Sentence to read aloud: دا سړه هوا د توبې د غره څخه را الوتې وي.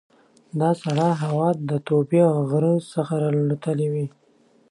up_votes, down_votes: 2, 0